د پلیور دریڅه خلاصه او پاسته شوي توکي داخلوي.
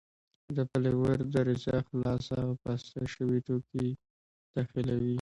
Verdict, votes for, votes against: accepted, 2, 0